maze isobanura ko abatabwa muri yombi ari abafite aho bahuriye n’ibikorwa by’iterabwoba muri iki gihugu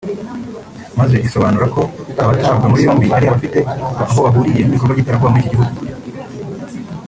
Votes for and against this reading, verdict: 0, 3, rejected